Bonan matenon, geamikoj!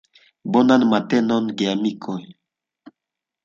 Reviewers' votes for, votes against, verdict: 2, 0, accepted